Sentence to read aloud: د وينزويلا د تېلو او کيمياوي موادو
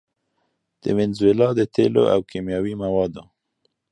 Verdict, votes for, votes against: accepted, 2, 0